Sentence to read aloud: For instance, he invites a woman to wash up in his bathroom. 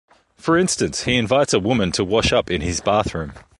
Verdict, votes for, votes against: accepted, 2, 0